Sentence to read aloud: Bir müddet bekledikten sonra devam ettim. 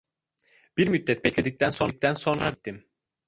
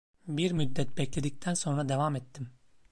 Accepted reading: second